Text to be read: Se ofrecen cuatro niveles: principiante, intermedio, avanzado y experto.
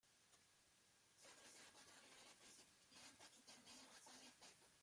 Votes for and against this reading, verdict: 0, 2, rejected